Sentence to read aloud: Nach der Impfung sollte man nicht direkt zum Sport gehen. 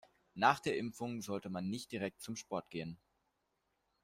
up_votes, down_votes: 2, 0